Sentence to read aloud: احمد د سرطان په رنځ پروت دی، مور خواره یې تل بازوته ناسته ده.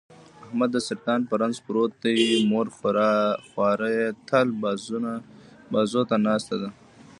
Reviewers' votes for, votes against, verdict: 2, 1, accepted